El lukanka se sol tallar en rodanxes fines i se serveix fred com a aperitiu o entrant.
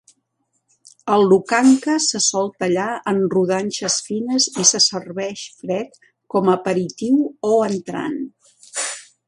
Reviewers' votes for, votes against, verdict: 2, 0, accepted